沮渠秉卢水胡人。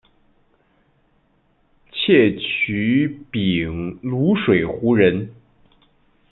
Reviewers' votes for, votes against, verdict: 0, 2, rejected